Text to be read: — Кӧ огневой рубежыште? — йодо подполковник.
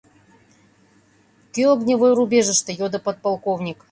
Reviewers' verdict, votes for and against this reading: accepted, 2, 0